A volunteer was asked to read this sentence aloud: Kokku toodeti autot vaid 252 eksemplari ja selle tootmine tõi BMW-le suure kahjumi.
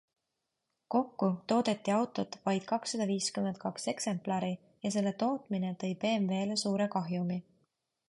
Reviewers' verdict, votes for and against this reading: rejected, 0, 2